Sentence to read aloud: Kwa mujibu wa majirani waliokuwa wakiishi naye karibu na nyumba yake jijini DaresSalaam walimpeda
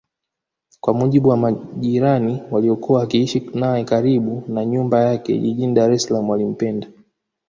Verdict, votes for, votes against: rejected, 1, 2